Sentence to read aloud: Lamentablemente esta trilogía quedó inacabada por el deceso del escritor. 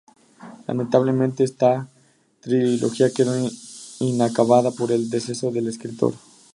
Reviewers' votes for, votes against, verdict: 2, 2, rejected